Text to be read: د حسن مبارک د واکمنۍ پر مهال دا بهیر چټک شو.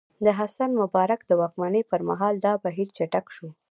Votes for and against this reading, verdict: 2, 0, accepted